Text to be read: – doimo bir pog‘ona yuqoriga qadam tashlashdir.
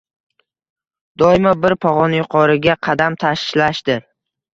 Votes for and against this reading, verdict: 2, 0, accepted